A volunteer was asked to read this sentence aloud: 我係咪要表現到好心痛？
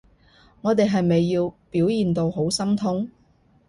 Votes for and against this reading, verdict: 0, 2, rejected